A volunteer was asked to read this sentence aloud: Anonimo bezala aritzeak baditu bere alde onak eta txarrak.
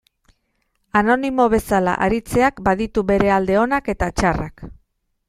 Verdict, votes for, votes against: accepted, 2, 0